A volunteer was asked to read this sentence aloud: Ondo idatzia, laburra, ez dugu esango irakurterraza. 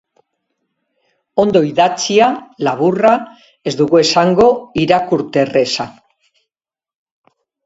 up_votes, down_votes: 0, 2